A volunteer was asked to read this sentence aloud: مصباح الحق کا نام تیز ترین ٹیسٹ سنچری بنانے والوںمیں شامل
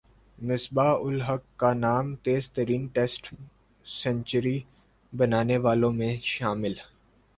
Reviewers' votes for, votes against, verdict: 1, 2, rejected